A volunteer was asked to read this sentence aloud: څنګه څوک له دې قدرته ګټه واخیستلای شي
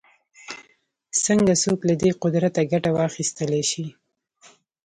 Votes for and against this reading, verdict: 2, 0, accepted